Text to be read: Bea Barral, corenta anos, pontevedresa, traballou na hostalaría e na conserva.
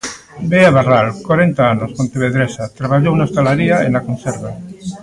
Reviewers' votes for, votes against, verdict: 2, 0, accepted